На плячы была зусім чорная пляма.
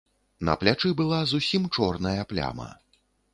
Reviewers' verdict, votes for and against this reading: accepted, 3, 0